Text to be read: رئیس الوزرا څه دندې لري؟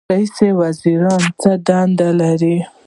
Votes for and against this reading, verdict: 0, 2, rejected